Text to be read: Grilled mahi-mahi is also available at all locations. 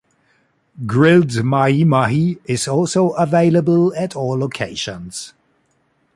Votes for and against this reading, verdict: 2, 0, accepted